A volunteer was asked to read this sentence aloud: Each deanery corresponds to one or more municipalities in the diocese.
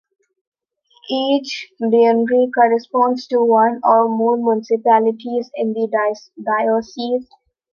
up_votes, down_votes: 0, 2